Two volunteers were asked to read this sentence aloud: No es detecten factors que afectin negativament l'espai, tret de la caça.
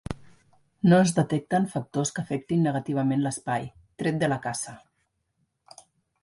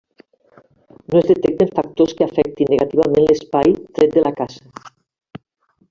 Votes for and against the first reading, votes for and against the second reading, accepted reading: 2, 0, 0, 2, first